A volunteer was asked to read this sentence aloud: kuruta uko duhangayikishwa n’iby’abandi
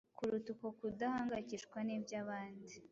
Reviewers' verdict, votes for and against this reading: rejected, 1, 2